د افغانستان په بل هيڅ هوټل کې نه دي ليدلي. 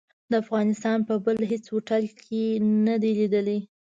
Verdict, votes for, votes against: accepted, 2, 0